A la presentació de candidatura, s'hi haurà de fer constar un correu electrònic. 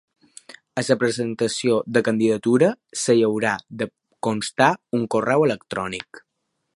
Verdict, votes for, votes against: rejected, 0, 2